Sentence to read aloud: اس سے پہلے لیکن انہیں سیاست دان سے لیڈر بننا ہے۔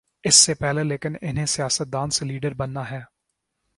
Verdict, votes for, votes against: accepted, 2, 0